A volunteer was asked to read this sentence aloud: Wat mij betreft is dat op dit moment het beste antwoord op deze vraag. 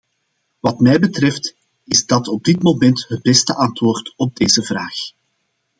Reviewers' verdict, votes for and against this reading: accepted, 2, 0